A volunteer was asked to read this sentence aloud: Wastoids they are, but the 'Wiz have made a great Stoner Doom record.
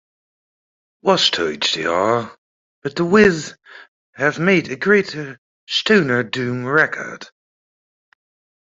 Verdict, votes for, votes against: accepted, 2, 1